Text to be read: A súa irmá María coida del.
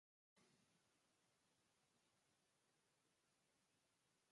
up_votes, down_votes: 0, 4